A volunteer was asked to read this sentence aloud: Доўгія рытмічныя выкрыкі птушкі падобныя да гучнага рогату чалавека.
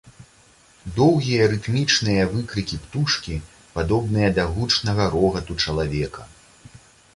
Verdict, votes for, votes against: accepted, 2, 0